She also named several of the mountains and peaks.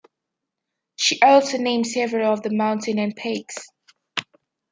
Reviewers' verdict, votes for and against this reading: accepted, 2, 0